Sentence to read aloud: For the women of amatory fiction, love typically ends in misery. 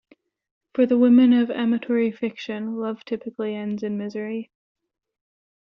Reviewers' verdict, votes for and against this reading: accepted, 2, 0